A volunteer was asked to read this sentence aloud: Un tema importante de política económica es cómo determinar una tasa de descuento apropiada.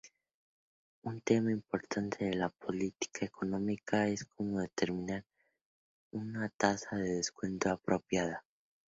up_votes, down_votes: 0, 2